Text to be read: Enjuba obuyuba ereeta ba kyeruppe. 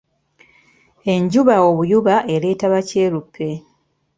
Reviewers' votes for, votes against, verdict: 2, 0, accepted